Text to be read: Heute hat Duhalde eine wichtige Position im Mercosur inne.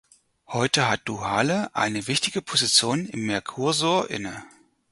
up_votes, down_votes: 0, 4